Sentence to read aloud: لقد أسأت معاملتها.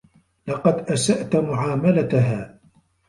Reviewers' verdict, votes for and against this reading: accepted, 2, 0